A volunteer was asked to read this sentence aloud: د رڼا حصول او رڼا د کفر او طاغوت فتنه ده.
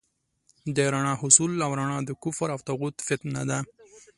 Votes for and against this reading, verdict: 2, 0, accepted